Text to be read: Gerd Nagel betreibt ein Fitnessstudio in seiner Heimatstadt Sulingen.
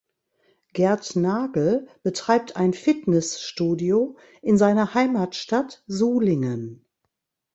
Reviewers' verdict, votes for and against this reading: rejected, 0, 2